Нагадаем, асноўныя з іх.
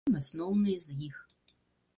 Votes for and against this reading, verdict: 0, 2, rejected